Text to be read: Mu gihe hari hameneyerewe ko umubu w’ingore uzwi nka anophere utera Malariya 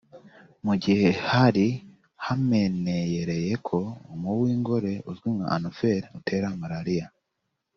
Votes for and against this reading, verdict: 3, 1, accepted